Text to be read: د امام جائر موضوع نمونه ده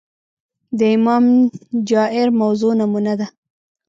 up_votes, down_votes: 0, 2